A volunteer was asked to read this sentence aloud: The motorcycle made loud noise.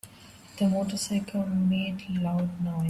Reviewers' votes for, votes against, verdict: 1, 2, rejected